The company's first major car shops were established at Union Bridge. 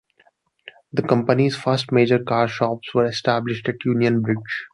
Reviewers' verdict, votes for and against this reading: accepted, 2, 0